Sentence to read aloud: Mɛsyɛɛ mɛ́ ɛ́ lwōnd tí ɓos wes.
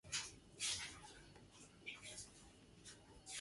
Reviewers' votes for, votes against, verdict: 0, 2, rejected